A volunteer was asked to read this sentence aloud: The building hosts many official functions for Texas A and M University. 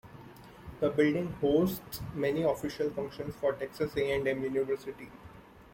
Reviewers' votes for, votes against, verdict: 2, 0, accepted